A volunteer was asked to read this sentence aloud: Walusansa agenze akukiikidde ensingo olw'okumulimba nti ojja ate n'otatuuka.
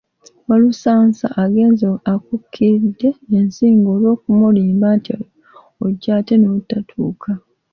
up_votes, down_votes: 0, 2